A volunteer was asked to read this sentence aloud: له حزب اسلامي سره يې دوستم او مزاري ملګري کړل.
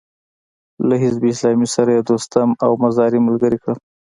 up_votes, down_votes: 2, 0